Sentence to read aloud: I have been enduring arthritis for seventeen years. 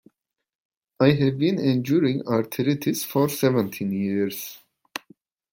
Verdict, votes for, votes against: accepted, 2, 0